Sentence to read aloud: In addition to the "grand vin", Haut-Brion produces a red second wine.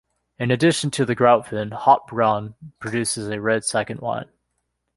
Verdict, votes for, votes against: accepted, 3, 0